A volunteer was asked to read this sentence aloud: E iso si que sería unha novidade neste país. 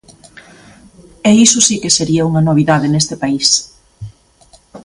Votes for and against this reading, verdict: 2, 0, accepted